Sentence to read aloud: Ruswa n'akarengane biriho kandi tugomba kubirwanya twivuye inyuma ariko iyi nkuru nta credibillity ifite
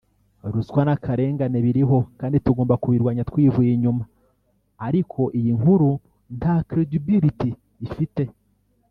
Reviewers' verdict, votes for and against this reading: accepted, 2, 1